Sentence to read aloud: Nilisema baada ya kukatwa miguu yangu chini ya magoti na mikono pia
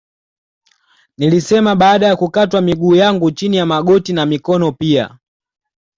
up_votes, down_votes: 2, 0